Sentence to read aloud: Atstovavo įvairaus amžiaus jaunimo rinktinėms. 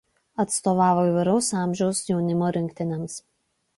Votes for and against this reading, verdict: 2, 0, accepted